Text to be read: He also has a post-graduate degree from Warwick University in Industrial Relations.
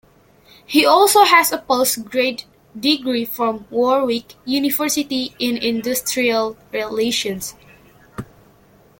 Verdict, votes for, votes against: rejected, 0, 2